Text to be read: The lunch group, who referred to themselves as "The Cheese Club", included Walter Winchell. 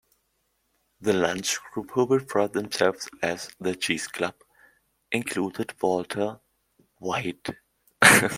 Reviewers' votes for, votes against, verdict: 0, 2, rejected